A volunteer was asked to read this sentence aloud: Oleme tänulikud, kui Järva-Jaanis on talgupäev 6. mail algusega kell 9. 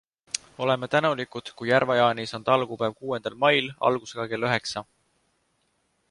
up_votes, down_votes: 0, 2